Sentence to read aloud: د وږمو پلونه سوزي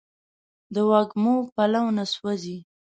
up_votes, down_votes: 0, 2